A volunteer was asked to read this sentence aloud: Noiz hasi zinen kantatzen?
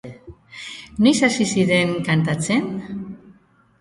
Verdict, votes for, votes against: rejected, 1, 2